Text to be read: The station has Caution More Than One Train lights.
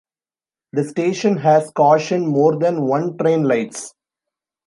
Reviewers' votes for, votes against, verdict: 2, 0, accepted